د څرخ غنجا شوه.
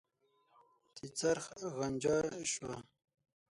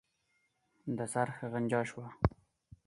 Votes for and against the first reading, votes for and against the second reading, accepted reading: 3, 6, 4, 2, second